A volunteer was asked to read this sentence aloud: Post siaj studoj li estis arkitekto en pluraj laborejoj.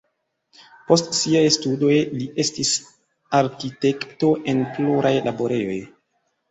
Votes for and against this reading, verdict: 2, 0, accepted